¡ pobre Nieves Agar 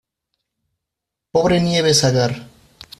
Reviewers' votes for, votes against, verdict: 2, 0, accepted